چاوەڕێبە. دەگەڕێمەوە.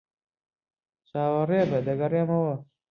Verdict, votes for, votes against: accepted, 2, 0